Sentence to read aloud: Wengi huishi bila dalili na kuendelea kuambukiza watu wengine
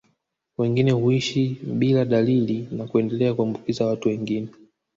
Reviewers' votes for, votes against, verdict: 1, 2, rejected